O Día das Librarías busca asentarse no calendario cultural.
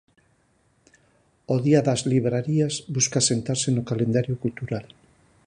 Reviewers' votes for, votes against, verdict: 4, 0, accepted